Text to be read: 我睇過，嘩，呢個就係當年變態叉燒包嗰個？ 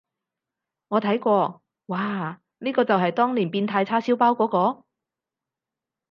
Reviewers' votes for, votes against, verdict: 4, 0, accepted